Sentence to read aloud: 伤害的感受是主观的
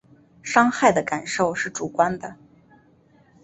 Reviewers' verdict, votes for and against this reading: accepted, 2, 0